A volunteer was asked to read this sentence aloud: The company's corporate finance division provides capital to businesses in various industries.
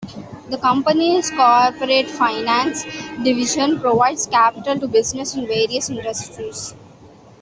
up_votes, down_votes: 1, 2